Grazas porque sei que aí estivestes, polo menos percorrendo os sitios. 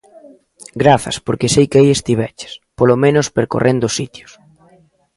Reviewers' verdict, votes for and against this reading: rejected, 0, 2